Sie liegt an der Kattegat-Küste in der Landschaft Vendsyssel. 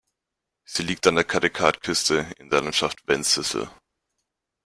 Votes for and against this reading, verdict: 1, 2, rejected